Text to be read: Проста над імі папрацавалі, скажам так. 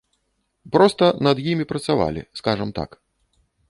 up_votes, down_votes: 0, 2